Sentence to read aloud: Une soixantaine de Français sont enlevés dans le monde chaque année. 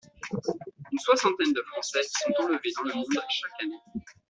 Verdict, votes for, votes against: rejected, 1, 2